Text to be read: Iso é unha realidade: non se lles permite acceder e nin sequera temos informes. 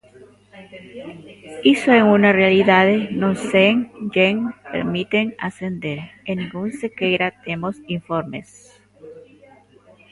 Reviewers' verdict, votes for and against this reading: rejected, 0, 2